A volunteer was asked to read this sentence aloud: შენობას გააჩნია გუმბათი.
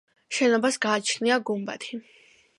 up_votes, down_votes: 2, 0